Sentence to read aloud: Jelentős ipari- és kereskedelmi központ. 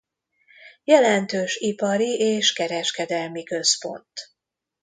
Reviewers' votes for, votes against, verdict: 2, 0, accepted